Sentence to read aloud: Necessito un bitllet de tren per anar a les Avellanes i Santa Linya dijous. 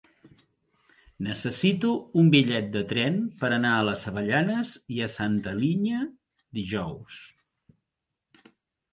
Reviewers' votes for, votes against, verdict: 0, 2, rejected